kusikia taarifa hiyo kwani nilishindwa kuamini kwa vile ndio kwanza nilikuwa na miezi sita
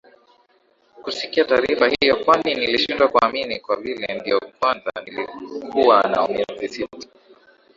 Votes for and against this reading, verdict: 2, 0, accepted